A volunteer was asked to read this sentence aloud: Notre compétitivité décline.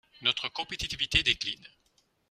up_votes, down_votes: 2, 0